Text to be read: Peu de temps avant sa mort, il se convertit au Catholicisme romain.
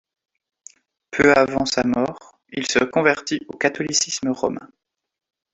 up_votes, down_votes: 1, 2